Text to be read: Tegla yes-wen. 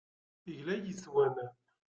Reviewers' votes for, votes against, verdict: 2, 1, accepted